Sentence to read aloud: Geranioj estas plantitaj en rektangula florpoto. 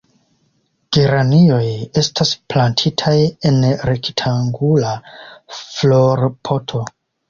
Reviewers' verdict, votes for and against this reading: rejected, 0, 2